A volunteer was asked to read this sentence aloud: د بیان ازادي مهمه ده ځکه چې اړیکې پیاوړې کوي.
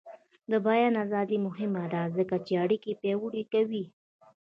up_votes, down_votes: 1, 2